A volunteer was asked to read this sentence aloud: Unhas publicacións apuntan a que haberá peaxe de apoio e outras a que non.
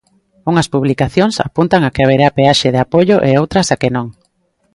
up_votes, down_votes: 2, 0